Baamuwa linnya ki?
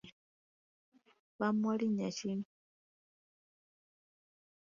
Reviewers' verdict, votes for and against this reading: accepted, 3, 0